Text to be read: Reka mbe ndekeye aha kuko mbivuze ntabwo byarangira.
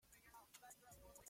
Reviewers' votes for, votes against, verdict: 0, 2, rejected